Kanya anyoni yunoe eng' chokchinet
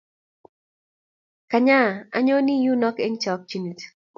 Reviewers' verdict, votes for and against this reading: accepted, 4, 0